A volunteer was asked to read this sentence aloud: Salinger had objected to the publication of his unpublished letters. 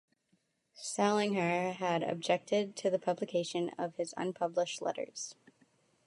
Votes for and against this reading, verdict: 2, 0, accepted